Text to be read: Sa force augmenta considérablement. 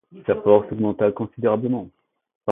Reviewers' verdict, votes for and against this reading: rejected, 0, 2